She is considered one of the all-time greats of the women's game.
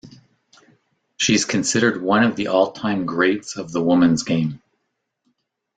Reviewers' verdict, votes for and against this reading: rejected, 1, 2